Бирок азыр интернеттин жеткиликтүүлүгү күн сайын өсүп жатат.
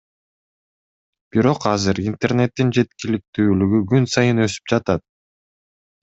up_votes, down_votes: 2, 0